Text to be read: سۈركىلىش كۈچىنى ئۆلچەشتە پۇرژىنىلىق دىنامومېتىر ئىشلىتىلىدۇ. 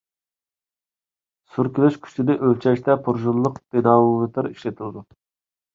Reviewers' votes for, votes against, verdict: 0, 2, rejected